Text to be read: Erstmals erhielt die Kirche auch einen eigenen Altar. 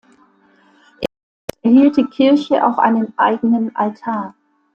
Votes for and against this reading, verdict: 0, 2, rejected